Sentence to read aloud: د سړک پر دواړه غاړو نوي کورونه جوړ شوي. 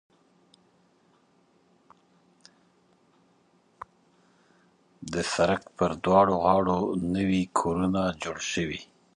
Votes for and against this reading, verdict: 0, 2, rejected